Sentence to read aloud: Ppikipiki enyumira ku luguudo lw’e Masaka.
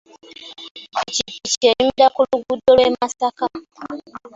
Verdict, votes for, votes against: rejected, 0, 2